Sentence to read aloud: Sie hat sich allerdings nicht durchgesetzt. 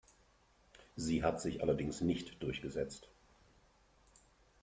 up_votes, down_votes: 2, 0